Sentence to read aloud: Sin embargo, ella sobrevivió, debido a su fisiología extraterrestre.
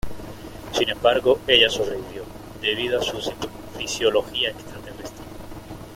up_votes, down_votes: 0, 2